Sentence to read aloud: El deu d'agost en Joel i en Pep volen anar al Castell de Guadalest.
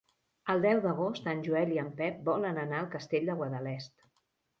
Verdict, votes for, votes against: accepted, 3, 0